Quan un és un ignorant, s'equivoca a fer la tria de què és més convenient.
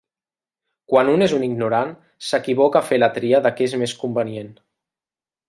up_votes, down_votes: 0, 2